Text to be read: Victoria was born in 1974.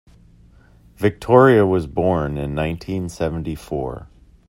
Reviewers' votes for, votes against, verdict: 0, 2, rejected